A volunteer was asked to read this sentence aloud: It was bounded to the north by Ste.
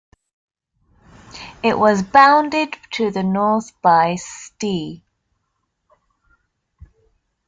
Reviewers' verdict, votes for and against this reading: accepted, 2, 0